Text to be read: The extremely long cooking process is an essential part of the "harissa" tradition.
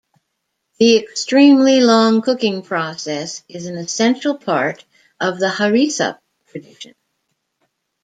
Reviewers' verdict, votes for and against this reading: rejected, 0, 2